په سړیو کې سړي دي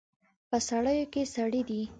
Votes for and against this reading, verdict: 2, 0, accepted